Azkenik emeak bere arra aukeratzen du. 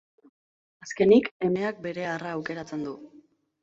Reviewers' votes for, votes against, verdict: 3, 0, accepted